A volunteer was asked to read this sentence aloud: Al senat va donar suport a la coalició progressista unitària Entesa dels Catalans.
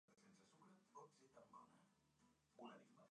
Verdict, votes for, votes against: rejected, 0, 2